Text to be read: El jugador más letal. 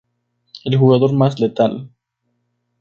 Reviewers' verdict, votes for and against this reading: accepted, 2, 0